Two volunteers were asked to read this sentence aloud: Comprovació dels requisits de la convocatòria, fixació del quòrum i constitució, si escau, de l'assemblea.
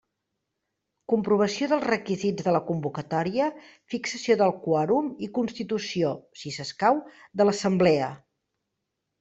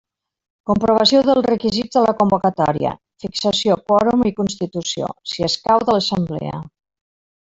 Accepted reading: first